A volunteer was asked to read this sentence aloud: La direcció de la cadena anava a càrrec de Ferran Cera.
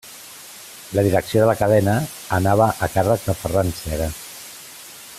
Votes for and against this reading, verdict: 2, 0, accepted